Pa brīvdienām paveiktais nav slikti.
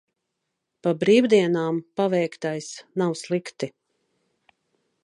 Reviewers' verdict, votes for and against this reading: accepted, 2, 0